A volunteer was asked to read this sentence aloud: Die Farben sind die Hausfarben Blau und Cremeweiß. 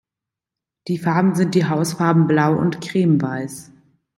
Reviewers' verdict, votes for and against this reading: rejected, 0, 2